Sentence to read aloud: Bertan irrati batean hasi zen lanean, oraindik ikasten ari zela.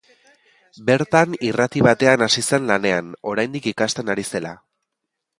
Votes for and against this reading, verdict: 2, 0, accepted